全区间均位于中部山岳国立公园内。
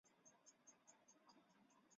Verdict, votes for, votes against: rejected, 0, 3